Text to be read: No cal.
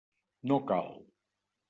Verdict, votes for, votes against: accepted, 3, 0